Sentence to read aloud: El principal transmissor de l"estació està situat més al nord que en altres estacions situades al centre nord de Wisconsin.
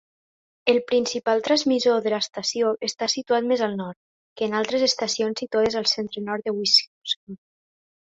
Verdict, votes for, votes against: accepted, 2, 1